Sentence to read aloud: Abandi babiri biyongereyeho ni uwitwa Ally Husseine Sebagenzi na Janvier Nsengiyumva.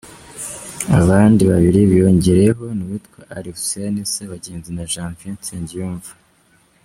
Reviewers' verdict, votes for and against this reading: rejected, 1, 2